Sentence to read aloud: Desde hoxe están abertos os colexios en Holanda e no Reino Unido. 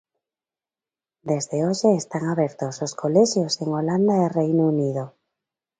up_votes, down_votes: 0, 2